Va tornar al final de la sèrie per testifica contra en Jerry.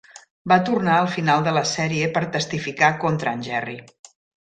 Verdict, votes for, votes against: accepted, 2, 0